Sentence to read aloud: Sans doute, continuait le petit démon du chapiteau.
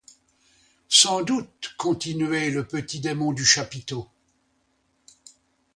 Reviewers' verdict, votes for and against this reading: accepted, 2, 0